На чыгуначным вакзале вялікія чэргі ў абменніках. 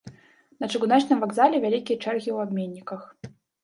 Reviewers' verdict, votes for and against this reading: rejected, 0, 3